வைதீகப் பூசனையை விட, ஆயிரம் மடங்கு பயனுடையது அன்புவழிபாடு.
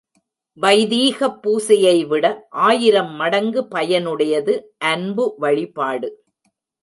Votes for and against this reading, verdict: 1, 2, rejected